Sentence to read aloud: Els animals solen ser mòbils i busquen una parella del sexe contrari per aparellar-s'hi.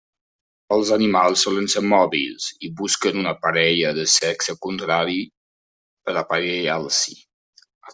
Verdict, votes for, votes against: rejected, 1, 2